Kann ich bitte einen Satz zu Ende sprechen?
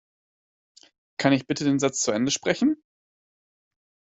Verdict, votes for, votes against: rejected, 0, 2